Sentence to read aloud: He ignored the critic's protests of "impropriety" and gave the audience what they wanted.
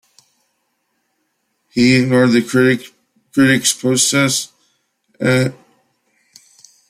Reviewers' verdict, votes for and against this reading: rejected, 0, 2